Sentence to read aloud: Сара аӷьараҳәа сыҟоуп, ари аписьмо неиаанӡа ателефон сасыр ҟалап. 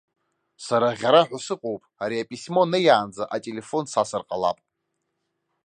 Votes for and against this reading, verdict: 2, 0, accepted